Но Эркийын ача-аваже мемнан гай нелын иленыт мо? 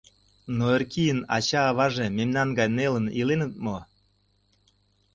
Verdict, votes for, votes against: accepted, 2, 0